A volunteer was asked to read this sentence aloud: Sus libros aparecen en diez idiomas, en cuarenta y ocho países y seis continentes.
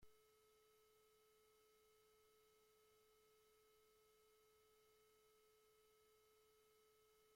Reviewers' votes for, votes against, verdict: 1, 2, rejected